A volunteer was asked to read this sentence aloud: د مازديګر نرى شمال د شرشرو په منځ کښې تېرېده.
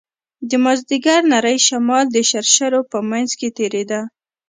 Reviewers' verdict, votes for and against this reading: accepted, 2, 0